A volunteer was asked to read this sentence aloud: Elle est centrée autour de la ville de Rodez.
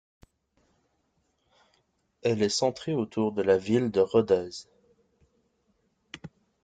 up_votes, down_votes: 2, 0